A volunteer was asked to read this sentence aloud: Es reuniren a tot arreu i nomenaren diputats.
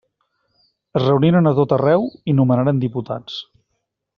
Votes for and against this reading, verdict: 3, 0, accepted